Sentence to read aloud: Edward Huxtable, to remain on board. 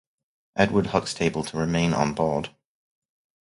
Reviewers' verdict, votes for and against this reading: rejected, 2, 2